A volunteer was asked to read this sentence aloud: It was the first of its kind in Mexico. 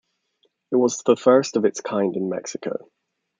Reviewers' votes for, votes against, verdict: 2, 0, accepted